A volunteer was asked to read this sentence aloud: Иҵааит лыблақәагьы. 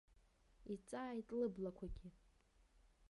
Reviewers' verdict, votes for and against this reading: rejected, 1, 2